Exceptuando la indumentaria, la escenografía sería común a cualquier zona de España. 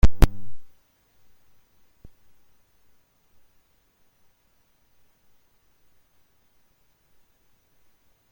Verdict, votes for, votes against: rejected, 0, 2